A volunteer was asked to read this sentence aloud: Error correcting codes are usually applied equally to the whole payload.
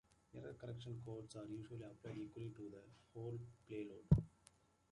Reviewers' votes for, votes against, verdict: 0, 2, rejected